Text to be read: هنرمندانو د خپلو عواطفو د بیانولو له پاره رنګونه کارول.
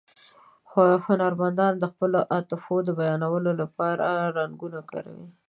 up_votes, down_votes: 1, 2